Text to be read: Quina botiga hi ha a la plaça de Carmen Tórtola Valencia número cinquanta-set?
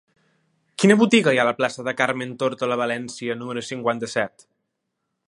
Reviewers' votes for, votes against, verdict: 3, 0, accepted